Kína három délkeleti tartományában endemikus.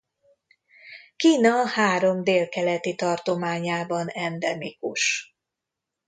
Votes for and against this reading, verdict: 2, 0, accepted